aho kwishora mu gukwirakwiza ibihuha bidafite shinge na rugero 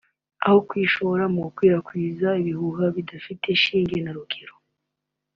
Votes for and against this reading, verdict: 2, 1, accepted